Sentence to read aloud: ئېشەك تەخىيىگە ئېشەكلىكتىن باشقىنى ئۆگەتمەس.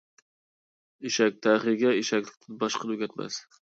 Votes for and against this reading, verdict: 1, 2, rejected